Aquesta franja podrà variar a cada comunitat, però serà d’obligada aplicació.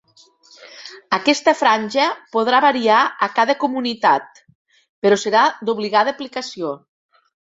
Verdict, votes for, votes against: accepted, 3, 0